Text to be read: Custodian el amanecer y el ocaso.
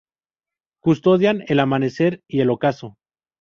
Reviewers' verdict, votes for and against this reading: rejected, 2, 2